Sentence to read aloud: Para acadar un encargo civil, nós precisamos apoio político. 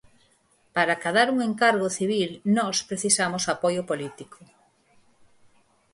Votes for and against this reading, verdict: 4, 2, accepted